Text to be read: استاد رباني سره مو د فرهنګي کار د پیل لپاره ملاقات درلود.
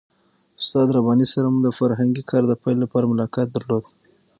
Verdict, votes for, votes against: rejected, 3, 6